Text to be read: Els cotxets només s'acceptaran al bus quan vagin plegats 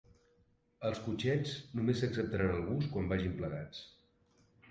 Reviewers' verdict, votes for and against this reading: rejected, 1, 2